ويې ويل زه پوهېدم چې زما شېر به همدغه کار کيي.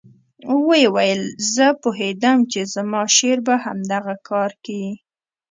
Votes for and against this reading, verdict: 0, 2, rejected